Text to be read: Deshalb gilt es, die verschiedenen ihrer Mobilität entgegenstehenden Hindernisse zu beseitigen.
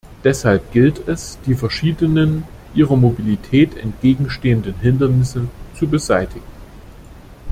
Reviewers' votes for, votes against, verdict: 2, 0, accepted